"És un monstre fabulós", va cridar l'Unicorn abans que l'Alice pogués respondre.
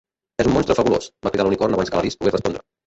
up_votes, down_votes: 0, 2